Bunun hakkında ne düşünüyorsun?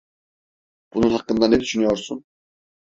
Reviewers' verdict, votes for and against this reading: accepted, 2, 0